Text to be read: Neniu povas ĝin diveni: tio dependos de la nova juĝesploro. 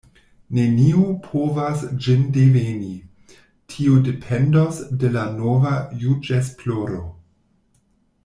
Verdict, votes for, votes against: rejected, 0, 2